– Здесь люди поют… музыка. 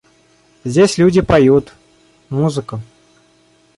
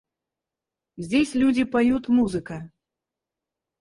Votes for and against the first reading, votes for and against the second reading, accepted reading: 2, 0, 2, 4, first